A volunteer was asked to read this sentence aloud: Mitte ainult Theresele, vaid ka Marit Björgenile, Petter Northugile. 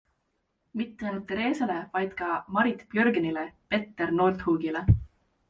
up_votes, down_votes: 2, 0